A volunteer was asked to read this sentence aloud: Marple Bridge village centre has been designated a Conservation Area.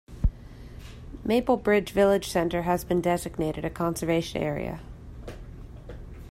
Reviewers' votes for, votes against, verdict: 0, 2, rejected